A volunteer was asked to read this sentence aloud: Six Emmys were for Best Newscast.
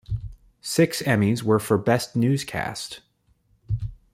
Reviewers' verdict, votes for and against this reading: accepted, 2, 0